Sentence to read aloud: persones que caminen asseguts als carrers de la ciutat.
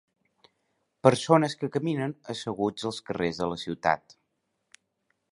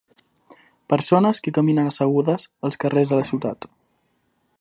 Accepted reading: first